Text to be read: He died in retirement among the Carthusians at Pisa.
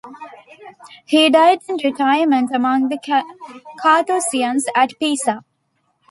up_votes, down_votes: 2, 0